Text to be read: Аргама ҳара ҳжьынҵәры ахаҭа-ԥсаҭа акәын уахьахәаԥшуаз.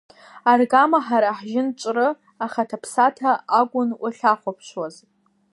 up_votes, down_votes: 2, 0